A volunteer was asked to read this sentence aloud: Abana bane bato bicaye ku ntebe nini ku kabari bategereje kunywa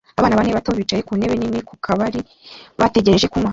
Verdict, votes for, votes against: rejected, 0, 2